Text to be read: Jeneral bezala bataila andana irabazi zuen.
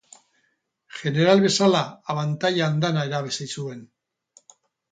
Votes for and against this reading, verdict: 2, 2, rejected